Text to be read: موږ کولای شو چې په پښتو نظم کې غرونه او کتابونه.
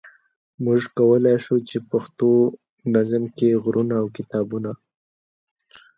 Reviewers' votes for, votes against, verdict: 1, 2, rejected